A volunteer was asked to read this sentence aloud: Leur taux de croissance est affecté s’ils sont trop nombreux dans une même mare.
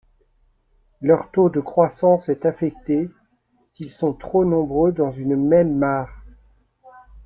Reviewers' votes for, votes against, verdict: 2, 1, accepted